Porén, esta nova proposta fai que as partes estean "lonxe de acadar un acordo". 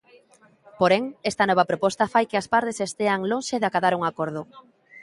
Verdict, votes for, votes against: rejected, 0, 2